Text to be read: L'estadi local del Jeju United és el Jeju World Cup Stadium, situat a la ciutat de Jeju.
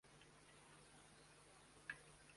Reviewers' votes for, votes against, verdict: 0, 2, rejected